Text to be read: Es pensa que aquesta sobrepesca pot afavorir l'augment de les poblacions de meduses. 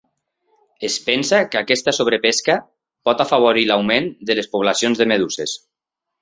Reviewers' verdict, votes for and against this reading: accepted, 3, 0